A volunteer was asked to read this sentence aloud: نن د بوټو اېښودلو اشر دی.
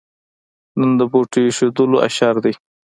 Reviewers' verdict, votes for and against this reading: accepted, 2, 1